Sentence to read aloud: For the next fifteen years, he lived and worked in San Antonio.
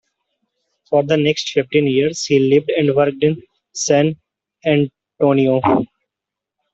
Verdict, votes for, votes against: rejected, 0, 2